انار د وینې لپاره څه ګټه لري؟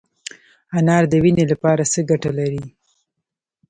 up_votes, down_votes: 1, 2